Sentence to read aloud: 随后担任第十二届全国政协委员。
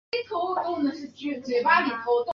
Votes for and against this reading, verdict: 0, 2, rejected